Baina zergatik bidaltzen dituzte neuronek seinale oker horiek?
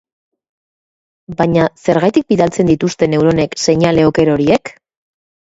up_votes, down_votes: 2, 0